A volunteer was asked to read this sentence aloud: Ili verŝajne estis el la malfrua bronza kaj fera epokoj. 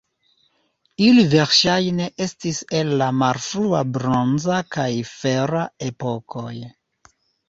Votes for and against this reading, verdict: 1, 2, rejected